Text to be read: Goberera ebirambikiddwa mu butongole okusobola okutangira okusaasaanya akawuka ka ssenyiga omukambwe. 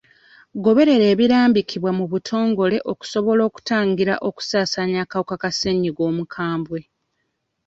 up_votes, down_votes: 0, 2